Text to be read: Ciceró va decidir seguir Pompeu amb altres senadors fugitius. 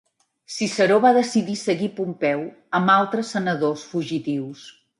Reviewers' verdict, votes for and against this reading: accepted, 3, 0